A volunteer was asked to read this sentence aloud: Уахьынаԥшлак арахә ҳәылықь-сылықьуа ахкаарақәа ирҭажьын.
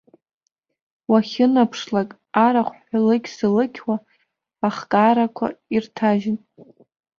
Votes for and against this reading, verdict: 2, 0, accepted